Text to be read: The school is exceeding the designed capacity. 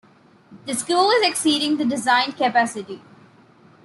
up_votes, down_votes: 2, 0